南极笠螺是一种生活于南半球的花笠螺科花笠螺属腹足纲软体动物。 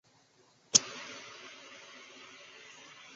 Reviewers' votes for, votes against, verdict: 0, 2, rejected